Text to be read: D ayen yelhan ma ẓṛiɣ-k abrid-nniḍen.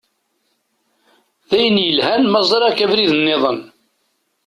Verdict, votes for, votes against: accepted, 2, 0